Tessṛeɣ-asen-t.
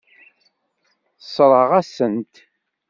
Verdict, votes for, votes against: rejected, 1, 2